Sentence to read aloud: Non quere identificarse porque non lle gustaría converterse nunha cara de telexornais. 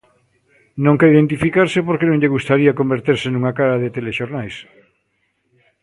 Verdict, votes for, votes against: accepted, 2, 0